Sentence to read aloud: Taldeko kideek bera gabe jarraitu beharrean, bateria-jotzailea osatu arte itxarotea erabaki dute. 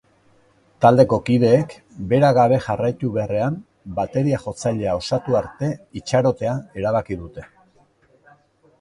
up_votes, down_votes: 3, 0